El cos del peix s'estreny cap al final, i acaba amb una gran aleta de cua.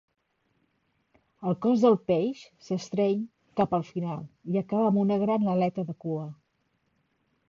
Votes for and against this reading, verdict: 2, 0, accepted